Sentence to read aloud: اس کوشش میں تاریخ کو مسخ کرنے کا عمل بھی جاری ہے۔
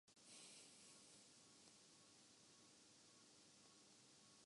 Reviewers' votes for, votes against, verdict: 0, 3, rejected